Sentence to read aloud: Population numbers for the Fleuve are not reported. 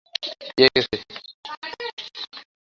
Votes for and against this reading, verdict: 0, 2, rejected